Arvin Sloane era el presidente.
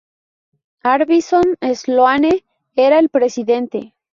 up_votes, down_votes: 0, 2